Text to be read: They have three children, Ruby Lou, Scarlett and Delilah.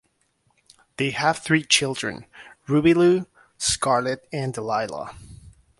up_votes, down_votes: 2, 0